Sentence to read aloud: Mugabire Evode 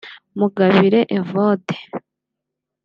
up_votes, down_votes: 2, 0